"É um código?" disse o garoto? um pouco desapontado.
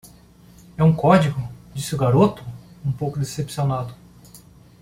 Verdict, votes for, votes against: rejected, 0, 2